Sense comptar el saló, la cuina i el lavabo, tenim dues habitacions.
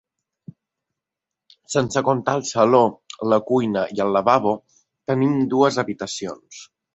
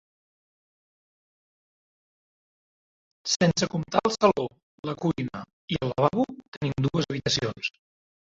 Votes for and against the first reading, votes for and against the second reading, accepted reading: 2, 0, 0, 2, first